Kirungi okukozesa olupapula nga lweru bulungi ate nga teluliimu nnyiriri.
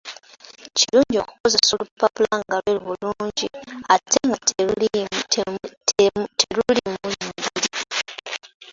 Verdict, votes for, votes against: rejected, 0, 2